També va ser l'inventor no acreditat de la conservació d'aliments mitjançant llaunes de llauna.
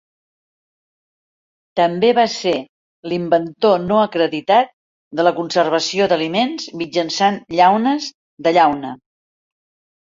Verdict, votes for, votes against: accepted, 4, 0